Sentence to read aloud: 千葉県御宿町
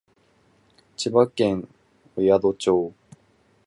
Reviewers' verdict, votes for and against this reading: rejected, 0, 4